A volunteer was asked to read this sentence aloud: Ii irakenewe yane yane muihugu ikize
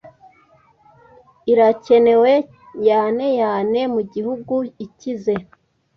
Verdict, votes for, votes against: rejected, 1, 2